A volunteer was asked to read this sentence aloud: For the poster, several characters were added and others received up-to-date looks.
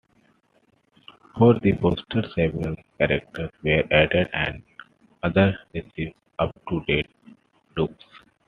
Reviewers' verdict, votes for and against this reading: accepted, 2, 1